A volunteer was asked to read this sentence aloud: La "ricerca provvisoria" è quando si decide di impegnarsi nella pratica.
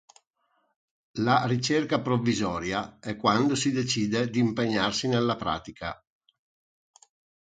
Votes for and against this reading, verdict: 4, 0, accepted